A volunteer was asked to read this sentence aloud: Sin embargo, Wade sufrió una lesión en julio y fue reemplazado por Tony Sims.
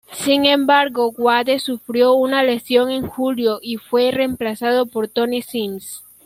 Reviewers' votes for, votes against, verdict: 2, 0, accepted